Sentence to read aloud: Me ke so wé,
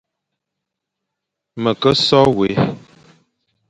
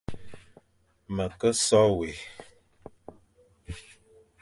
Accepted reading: second